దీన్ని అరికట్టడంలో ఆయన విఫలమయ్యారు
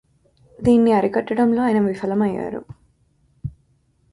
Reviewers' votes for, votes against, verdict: 2, 0, accepted